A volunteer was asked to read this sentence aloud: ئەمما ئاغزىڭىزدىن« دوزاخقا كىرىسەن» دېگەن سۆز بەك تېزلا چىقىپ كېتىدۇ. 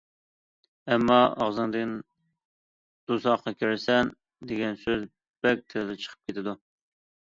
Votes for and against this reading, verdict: 0, 2, rejected